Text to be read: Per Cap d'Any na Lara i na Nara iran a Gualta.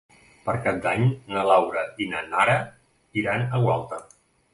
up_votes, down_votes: 0, 2